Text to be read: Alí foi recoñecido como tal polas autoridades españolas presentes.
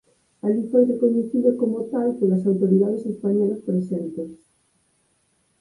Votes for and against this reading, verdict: 4, 0, accepted